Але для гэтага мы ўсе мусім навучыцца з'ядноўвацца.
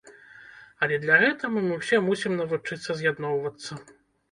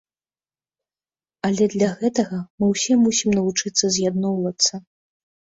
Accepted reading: second